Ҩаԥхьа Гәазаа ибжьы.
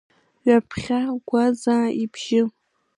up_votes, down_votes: 0, 2